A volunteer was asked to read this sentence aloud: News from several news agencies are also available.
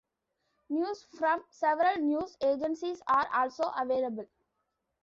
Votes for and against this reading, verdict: 3, 0, accepted